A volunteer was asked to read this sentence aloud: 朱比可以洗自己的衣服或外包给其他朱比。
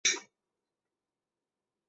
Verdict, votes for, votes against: accepted, 2, 0